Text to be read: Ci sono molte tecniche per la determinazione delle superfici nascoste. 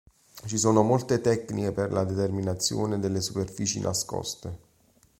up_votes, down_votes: 2, 0